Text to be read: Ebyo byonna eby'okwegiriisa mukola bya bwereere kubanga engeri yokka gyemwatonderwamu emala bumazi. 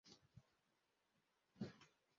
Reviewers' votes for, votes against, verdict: 1, 2, rejected